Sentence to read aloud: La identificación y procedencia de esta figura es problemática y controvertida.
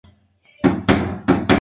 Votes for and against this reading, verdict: 0, 2, rejected